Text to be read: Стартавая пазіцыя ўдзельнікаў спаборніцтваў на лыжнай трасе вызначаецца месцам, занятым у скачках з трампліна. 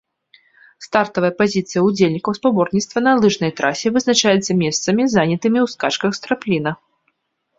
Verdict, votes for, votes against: rejected, 0, 2